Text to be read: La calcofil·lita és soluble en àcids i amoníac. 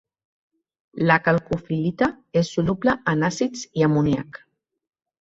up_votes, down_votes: 2, 1